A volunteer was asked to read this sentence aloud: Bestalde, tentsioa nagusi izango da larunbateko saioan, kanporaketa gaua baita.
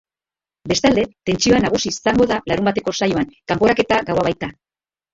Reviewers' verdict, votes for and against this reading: rejected, 1, 4